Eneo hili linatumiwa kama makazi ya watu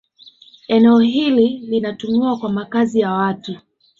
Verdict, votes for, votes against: accepted, 2, 1